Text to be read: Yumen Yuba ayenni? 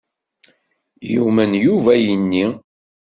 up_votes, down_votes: 2, 0